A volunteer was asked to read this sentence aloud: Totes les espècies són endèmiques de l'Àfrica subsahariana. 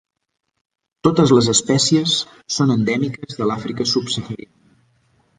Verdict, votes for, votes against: accepted, 2, 0